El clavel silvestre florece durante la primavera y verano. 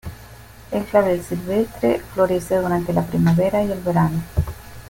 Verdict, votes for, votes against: rejected, 1, 2